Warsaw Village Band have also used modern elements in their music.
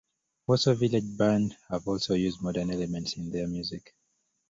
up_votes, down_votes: 1, 2